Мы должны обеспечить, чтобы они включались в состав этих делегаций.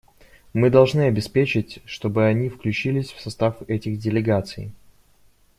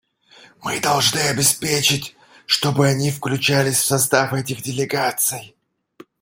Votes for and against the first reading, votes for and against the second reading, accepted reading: 0, 2, 2, 0, second